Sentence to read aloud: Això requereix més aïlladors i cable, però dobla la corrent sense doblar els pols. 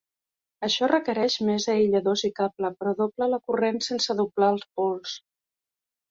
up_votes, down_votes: 2, 0